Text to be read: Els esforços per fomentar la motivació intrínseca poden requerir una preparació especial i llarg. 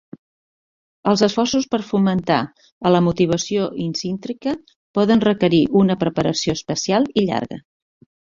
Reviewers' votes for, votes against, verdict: 1, 2, rejected